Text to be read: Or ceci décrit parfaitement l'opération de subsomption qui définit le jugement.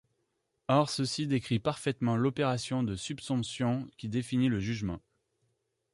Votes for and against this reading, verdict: 1, 2, rejected